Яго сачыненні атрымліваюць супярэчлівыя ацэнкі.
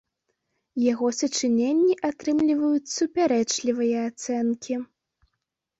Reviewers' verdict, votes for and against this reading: accepted, 2, 0